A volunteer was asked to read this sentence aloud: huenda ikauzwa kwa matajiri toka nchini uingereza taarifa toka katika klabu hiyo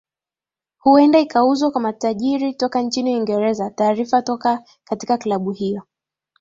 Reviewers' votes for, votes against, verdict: 7, 1, accepted